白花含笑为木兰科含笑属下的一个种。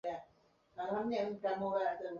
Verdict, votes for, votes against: rejected, 0, 2